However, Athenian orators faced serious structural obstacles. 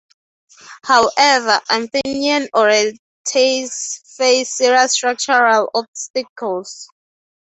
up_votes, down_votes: 3, 0